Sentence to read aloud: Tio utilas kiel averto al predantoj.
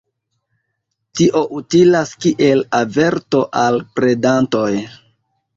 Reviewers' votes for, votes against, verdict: 2, 0, accepted